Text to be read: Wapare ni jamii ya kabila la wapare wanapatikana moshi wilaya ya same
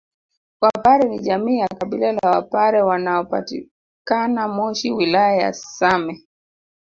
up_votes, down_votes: 2, 0